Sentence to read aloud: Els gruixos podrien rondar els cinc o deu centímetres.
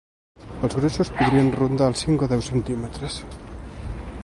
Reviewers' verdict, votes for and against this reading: rejected, 1, 2